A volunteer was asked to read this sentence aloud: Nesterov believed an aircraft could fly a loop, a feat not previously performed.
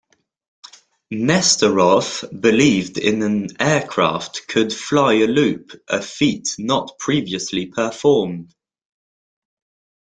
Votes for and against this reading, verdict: 2, 0, accepted